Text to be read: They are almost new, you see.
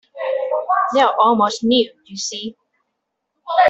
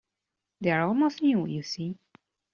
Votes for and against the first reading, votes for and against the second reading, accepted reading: 0, 2, 2, 0, second